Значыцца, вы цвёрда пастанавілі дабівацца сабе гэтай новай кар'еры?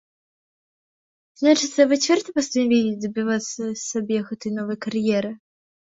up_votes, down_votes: 2, 1